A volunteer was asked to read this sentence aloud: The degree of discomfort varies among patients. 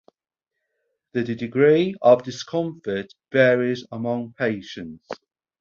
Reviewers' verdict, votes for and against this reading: rejected, 2, 2